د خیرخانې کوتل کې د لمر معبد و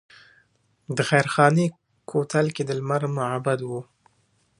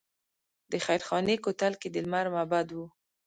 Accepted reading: first